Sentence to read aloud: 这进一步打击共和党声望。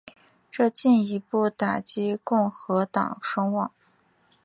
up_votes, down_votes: 2, 1